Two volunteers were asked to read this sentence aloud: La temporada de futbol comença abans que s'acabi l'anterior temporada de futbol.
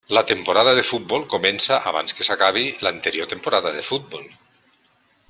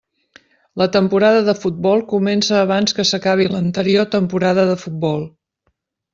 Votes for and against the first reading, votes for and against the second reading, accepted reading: 1, 2, 3, 0, second